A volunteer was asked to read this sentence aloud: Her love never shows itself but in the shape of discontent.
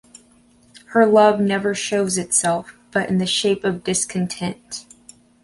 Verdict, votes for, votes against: accepted, 2, 0